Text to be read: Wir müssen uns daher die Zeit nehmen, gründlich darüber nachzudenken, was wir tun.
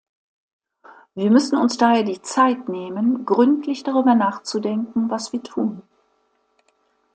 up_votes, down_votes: 2, 0